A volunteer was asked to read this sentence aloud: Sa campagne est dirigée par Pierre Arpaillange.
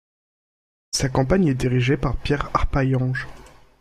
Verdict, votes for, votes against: rejected, 1, 2